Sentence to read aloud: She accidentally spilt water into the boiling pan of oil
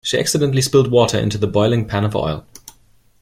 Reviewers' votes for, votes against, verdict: 2, 0, accepted